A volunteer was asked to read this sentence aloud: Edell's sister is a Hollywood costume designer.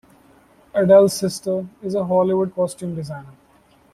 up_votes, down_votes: 1, 2